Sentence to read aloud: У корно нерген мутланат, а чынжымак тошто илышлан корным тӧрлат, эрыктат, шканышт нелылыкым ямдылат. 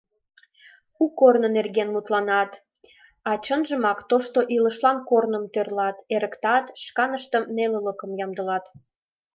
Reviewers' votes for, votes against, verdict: 1, 2, rejected